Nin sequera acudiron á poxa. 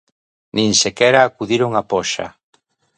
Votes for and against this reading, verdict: 2, 0, accepted